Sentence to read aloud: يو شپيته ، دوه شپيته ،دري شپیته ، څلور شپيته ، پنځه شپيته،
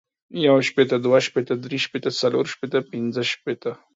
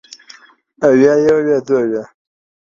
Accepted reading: first